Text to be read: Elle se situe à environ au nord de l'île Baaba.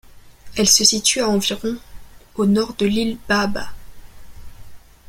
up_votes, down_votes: 2, 1